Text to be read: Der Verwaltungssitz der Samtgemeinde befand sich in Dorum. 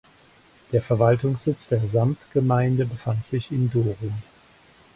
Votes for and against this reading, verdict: 2, 4, rejected